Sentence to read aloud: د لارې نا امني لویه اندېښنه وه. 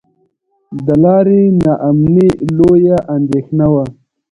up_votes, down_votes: 1, 2